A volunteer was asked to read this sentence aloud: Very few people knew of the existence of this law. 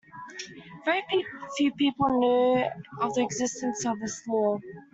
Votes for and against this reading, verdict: 0, 2, rejected